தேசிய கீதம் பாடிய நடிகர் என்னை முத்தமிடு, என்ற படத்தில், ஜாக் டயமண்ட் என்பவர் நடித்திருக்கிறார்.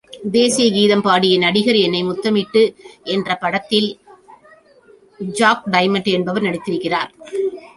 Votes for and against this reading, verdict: 0, 2, rejected